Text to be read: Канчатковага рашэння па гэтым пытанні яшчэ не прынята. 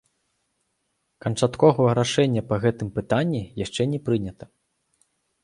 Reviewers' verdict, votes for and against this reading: rejected, 1, 2